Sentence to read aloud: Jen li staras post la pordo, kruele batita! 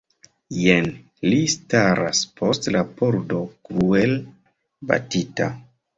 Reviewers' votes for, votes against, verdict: 1, 2, rejected